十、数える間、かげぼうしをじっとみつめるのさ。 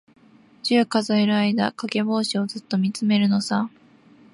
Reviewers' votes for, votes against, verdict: 2, 1, accepted